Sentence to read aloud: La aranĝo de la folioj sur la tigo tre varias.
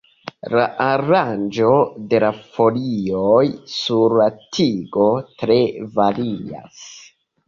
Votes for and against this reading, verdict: 2, 0, accepted